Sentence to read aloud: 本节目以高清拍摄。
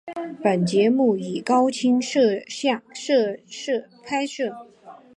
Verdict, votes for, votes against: rejected, 0, 2